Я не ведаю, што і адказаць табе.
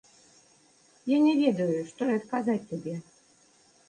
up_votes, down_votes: 2, 0